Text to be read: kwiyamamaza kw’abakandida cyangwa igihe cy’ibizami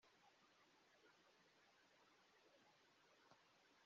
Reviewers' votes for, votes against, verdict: 0, 2, rejected